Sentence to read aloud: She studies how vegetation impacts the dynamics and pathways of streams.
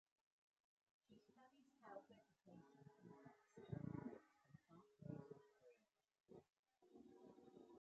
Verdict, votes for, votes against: rejected, 0, 6